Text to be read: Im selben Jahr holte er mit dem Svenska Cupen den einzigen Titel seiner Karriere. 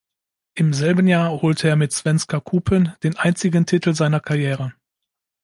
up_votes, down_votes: 2, 0